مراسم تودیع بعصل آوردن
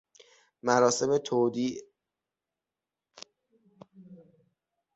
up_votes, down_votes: 0, 6